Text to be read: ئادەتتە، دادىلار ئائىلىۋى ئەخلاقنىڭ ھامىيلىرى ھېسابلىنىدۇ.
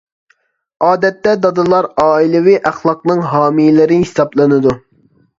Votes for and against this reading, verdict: 2, 0, accepted